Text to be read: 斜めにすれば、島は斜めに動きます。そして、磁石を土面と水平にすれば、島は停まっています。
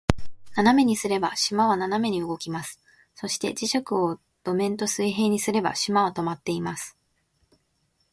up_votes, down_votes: 2, 0